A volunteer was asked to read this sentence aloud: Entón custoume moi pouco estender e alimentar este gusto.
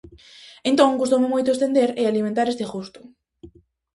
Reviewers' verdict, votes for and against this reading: rejected, 0, 2